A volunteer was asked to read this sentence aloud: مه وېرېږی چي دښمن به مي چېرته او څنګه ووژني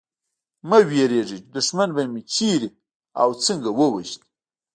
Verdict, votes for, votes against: rejected, 1, 2